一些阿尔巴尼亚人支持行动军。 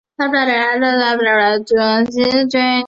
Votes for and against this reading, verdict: 0, 2, rejected